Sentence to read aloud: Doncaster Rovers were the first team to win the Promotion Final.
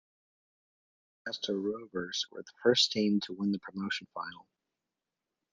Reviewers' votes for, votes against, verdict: 0, 2, rejected